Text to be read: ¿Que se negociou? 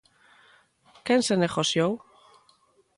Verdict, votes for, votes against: rejected, 0, 2